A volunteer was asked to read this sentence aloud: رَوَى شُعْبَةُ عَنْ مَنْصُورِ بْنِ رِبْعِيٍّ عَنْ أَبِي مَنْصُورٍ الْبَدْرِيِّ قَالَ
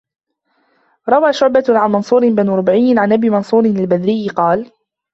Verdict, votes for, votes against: rejected, 0, 2